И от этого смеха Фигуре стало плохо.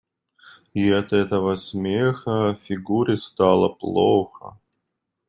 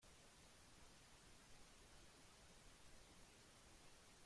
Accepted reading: first